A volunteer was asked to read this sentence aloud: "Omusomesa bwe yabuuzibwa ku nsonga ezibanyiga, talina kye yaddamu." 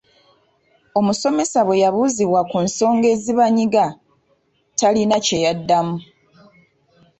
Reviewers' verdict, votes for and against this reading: accepted, 2, 0